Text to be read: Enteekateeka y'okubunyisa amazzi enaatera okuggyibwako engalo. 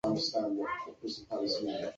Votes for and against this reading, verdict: 0, 2, rejected